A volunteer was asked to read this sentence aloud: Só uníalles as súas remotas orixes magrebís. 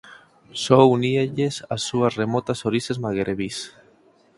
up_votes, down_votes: 2, 4